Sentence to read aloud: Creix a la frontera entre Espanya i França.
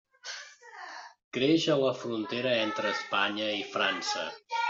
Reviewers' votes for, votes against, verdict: 1, 2, rejected